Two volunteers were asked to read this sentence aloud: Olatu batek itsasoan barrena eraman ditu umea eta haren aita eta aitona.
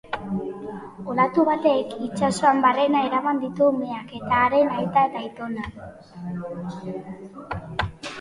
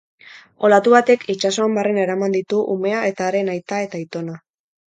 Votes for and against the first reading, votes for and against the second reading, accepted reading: 0, 2, 2, 0, second